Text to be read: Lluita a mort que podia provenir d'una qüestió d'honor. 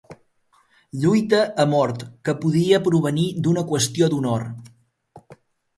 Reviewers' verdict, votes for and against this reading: accepted, 2, 0